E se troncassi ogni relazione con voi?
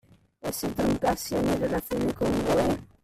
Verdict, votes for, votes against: rejected, 0, 2